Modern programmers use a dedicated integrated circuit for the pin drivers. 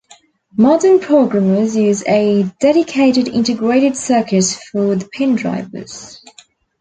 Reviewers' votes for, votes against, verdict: 2, 0, accepted